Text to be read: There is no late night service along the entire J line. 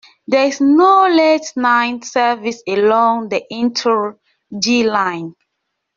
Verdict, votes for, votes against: rejected, 0, 2